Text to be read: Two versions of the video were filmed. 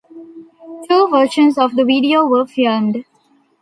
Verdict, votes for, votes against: accepted, 2, 0